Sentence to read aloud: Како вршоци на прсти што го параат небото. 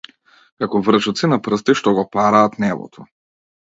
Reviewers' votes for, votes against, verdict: 2, 0, accepted